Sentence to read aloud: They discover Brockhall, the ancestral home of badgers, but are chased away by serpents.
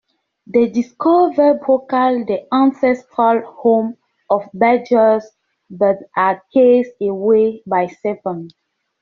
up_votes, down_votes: 0, 2